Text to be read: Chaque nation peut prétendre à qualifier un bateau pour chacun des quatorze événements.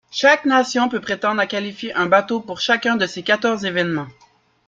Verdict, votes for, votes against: rejected, 1, 2